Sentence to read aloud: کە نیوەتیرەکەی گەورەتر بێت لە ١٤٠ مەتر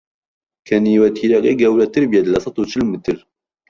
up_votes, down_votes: 0, 2